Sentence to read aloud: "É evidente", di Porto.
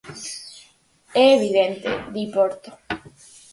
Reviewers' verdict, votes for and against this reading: accepted, 4, 0